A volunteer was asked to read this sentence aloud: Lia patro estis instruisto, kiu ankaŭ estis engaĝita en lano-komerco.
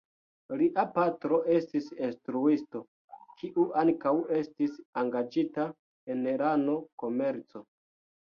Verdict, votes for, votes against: rejected, 0, 2